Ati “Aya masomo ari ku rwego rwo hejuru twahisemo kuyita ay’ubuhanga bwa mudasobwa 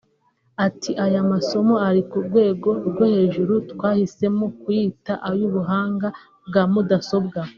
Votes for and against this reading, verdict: 0, 2, rejected